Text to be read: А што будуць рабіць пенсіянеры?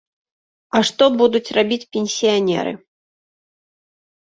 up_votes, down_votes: 2, 0